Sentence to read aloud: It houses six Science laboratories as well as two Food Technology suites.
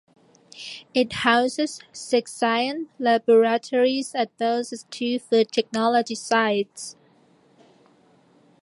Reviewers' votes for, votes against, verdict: 0, 2, rejected